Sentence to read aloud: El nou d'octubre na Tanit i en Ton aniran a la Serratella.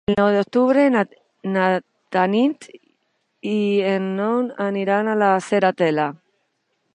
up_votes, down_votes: 0, 2